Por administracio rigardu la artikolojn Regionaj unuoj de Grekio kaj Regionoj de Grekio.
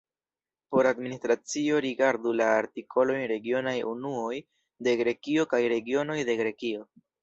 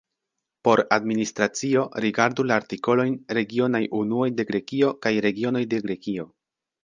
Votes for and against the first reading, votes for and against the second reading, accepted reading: 0, 2, 2, 0, second